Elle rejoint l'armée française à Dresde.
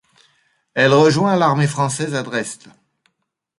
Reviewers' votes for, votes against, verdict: 0, 2, rejected